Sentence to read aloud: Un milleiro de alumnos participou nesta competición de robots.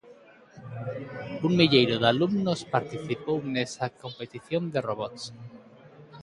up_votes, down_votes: 0, 2